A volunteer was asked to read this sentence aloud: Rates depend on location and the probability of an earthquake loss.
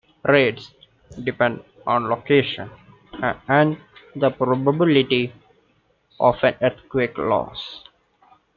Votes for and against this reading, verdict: 0, 2, rejected